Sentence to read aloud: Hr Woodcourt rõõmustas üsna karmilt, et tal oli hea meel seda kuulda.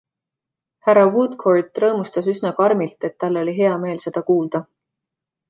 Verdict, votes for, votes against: accepted, 2, 0